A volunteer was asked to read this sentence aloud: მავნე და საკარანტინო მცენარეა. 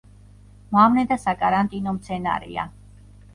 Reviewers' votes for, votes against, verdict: 0, 2, rejected